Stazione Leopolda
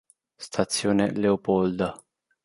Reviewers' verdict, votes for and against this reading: accepted, 2, 0